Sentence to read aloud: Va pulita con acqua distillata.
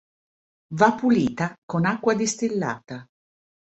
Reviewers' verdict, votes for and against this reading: accepted, 2, 0